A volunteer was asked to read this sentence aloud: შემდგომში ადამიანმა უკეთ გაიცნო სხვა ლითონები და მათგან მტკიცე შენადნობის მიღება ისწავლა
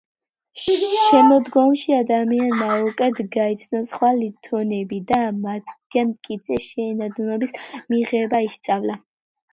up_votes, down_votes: 1, 2